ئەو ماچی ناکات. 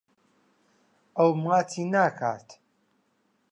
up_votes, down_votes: 2, 0